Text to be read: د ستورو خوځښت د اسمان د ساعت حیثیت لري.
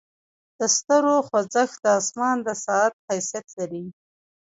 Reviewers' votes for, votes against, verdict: 2, 1, accepted